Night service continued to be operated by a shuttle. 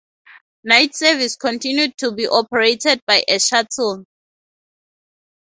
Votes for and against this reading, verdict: 2, 0, accepted